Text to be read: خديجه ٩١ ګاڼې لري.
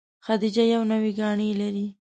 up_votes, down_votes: 0, 2